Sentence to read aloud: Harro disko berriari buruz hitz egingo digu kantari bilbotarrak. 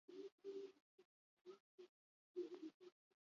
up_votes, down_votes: 0, 4